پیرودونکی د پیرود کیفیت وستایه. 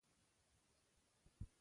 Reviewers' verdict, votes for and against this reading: rejected, 1, 2